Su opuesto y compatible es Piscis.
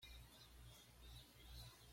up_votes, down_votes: 1, 2